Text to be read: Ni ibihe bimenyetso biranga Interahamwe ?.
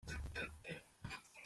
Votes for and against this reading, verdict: 0, 2, rejected